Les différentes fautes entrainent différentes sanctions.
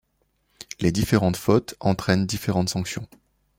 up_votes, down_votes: 2, 0